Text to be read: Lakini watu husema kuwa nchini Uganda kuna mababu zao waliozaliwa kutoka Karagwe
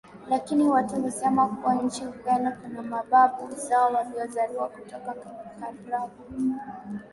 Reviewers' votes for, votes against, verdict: 0, 2, rejected